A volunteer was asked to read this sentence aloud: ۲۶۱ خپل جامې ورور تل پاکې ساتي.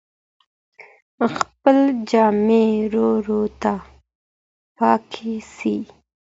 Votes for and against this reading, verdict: 0, 2, rejected